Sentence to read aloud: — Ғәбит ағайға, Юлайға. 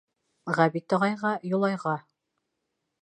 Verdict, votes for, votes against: accepted, 2, 0